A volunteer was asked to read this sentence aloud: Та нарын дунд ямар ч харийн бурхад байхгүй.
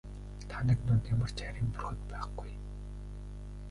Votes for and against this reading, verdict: 1, 2, rejected